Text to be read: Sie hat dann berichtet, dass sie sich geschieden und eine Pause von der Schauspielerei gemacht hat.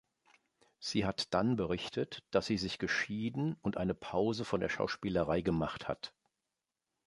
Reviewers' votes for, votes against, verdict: 2, 0, accepted